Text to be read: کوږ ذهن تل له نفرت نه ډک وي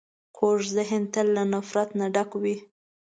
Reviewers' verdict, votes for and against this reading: accepted, 2, 0